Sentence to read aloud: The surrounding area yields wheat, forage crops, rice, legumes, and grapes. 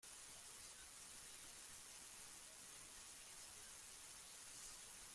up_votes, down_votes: 0, 2